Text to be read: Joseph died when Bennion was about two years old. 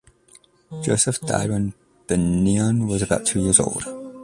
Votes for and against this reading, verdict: 1, 2, rejected